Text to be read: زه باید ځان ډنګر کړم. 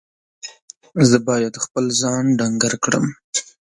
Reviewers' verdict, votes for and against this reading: rejected, 0, 2